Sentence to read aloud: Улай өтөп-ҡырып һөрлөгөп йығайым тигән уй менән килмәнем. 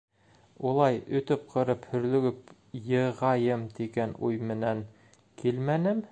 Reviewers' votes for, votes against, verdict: 2, 0, accepted